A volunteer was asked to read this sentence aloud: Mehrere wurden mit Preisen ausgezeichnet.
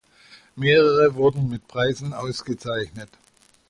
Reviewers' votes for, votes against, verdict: 2, 0, accepted